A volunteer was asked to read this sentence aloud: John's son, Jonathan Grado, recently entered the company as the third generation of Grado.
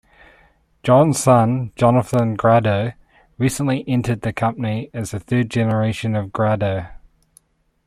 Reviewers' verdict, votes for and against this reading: accepted, 2, 0